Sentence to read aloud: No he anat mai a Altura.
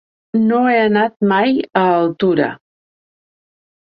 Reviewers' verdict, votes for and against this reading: accepted, 2, 0